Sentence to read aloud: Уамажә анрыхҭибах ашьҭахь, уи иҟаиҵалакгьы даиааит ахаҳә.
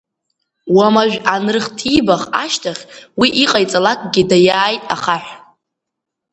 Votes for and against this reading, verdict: 2, 0, accepted